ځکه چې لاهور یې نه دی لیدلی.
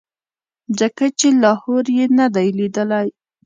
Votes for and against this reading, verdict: 2, 0, accepted